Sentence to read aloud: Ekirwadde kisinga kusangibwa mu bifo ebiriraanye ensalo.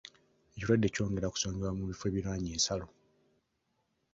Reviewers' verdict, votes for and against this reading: rejected, 1, 2